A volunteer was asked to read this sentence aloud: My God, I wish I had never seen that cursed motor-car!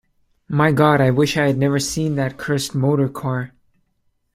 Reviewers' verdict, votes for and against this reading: accepted, 2, 0